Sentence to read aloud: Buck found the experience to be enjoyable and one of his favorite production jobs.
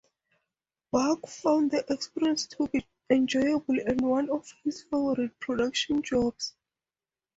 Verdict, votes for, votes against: accepted, 2, 0